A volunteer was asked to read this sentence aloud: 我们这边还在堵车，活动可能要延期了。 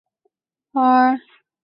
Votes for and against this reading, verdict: 0, 2, rejected